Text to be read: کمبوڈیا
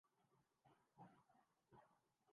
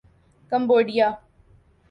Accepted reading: second